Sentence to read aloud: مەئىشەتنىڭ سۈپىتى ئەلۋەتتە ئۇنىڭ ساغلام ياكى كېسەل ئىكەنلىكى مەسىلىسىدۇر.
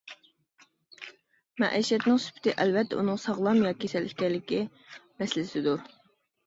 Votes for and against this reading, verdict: 2, 0, accepted